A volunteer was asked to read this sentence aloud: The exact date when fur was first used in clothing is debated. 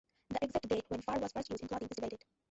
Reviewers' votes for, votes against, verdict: 0, 2, rejected